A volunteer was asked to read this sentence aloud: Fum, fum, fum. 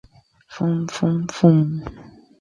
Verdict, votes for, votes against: accepted, 4, 0